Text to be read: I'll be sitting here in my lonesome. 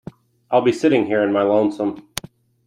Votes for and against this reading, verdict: 2, 0, accepted